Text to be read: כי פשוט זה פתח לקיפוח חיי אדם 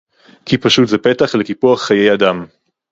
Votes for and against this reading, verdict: 4, 0, accepted